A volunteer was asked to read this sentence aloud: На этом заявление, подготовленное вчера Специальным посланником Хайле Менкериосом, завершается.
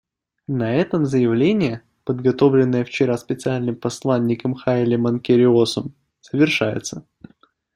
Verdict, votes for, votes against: rejected, 1, 2